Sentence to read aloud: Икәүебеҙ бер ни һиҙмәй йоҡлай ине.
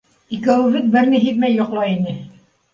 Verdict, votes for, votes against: accepted, 2, 0